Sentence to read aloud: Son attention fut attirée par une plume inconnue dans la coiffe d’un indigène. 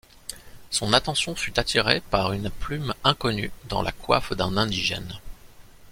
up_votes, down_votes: 2, 0